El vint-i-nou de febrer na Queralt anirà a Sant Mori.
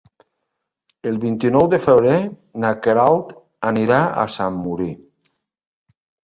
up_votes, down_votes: 1, 2